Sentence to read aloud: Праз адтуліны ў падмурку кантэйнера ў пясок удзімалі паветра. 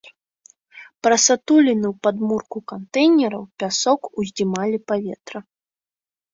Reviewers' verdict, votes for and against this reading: rejected, 0, 2